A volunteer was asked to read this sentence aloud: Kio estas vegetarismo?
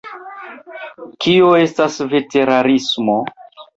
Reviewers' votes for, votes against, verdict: 0, 2, rejected